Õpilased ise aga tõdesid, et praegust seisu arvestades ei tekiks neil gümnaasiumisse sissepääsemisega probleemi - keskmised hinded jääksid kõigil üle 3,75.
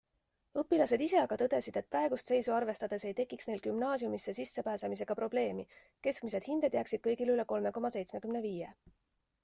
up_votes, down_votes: 0, 2